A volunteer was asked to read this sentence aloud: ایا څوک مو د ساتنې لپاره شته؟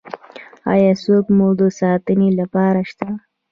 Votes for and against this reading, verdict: 2, 0, accepted